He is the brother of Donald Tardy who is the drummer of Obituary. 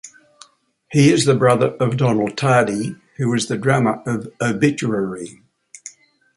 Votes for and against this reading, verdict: 2, 0, accepted